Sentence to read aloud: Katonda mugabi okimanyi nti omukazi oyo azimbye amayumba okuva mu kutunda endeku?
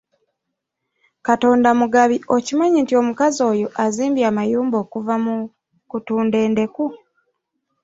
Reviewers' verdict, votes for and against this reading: rejected, 0, 2